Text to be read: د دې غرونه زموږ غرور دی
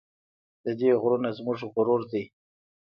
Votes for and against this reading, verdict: 2, 0, accepted